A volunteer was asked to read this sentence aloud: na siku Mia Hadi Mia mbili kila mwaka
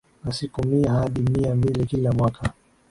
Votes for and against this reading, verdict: 2, 0, accepted